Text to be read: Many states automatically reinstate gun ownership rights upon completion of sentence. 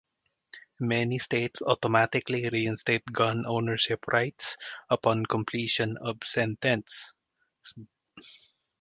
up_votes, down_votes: 0, 2